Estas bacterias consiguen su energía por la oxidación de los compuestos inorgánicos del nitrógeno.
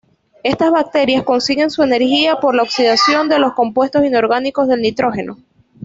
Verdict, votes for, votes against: accepted, 2, 0